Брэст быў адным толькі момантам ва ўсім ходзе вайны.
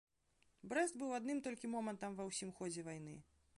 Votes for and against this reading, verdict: 3, 0, accepted